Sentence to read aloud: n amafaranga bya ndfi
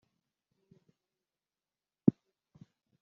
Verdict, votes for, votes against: rejected, 1, 2